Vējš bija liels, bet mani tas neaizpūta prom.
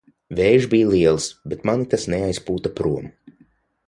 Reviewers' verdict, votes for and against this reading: accepted, 6, 0